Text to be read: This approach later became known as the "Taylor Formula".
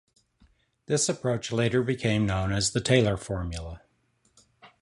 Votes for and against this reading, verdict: 2, 0, accepted